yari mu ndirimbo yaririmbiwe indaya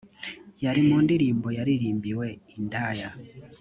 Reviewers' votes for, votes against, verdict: 2, 0, accepted